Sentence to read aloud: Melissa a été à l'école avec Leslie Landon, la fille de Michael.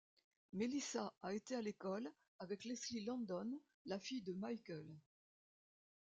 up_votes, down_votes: 2, 0